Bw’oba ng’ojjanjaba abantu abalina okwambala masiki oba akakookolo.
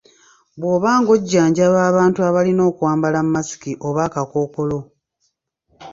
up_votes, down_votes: 0, 2